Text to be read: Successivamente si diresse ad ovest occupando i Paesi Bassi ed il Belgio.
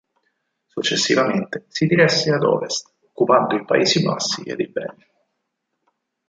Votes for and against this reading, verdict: 2, 4, rejected